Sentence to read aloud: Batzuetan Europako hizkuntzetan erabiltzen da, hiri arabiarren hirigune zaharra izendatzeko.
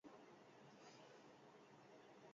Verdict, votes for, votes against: rejected, 0, 4